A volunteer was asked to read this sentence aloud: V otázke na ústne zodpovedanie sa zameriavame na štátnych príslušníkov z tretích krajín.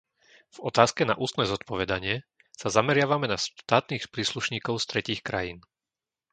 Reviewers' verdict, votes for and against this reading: rejected, 0, 3